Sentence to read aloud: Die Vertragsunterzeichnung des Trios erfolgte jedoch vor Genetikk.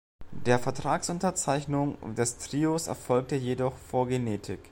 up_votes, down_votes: 0, 2